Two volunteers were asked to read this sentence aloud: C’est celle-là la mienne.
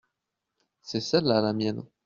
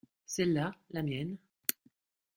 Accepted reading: first